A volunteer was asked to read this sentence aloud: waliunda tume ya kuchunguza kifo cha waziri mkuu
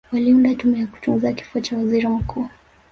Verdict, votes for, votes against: rejected, 1, 2